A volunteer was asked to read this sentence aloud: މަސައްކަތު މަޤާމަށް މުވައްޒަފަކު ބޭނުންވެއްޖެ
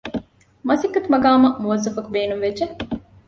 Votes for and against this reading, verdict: 2, 0, accepted